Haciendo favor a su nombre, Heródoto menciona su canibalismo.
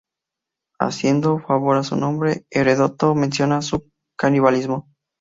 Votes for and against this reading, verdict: 0, 2, rejected